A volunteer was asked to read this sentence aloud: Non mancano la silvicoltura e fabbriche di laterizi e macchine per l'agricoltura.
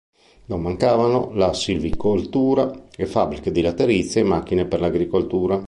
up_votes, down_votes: 1, 2